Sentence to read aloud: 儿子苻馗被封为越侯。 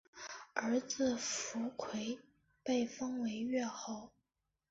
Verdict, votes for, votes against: accepted, 4, 1